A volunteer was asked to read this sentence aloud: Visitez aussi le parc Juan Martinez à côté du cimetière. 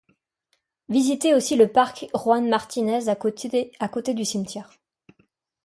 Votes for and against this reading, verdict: 1, 2, rejected